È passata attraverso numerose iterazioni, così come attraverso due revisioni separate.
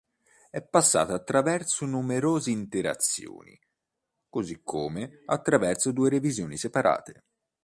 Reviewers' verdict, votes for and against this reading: rejected, 2, 3